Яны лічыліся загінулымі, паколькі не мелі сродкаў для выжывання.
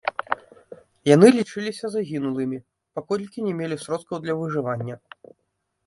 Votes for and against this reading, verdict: 0, 2, rejected